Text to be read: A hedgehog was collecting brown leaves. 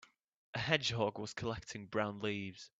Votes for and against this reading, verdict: 3, 0, accepted